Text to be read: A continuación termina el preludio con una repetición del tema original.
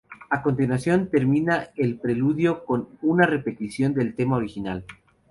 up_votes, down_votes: 2, 0